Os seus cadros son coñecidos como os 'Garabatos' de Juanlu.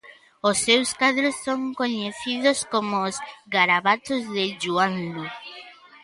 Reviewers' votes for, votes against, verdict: 1, 2, rejected